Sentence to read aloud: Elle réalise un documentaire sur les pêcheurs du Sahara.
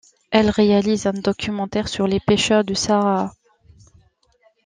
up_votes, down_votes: 2, 0